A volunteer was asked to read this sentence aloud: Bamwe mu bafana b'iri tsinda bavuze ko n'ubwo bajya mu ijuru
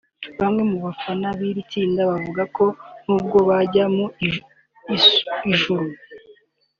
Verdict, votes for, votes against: rejected, 1, 2